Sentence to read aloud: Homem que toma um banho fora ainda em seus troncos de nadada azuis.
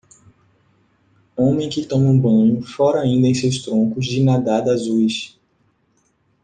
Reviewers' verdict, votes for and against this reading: accepted, 2, 1